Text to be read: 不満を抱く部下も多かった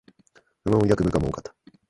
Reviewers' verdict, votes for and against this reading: rejected, 0, 2